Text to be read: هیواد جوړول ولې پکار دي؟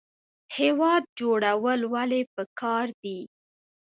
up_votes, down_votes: 2, 0